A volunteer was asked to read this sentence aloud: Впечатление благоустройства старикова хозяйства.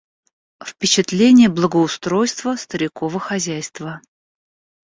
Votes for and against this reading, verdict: 2, 0, accepted